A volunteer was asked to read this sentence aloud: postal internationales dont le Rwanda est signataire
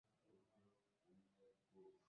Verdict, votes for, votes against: rejected, 0, 2